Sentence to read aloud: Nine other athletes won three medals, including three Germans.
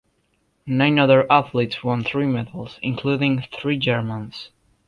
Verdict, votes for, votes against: accepted, 2, 0